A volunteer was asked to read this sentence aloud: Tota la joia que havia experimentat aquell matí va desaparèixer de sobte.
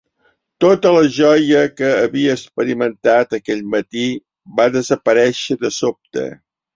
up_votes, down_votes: 3, 0